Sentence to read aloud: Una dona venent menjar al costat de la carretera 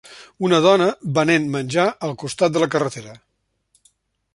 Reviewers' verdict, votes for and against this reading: accepted, 3, 0